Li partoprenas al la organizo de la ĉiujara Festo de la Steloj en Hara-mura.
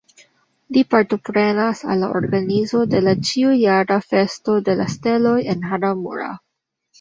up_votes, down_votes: 2, 0